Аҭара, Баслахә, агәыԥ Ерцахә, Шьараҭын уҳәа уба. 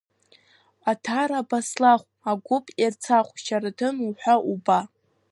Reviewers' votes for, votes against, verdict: 1, 2, rejected